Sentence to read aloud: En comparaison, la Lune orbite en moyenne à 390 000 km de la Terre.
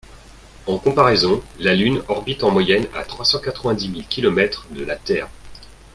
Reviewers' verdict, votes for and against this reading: rejected, 0, 2